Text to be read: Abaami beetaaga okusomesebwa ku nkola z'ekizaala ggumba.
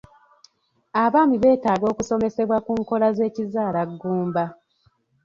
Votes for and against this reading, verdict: 3, 0, accepted